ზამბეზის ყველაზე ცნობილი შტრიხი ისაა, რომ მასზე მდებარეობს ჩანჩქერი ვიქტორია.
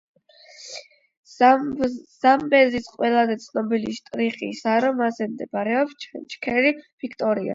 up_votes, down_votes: 4, 8